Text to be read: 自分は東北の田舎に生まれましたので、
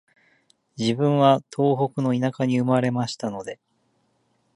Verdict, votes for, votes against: accepted, 2, 0